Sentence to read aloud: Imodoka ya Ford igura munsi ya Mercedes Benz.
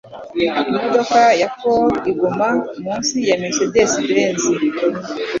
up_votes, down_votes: 3, 0